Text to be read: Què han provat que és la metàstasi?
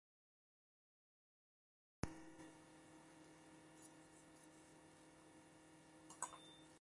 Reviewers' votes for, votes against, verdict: 0, 2, rejected